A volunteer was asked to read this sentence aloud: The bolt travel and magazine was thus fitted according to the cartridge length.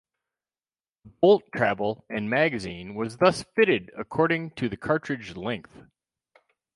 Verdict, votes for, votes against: accepted, 2, 0